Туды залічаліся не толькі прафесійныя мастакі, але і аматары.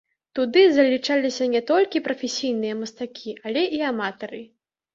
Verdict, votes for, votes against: accepted, 2, 0